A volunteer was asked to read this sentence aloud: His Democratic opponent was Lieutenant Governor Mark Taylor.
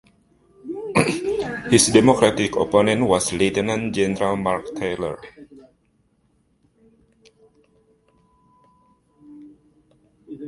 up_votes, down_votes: 1, 2